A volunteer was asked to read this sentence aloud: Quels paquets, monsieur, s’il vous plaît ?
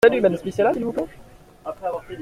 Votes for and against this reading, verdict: 0, 2, rejected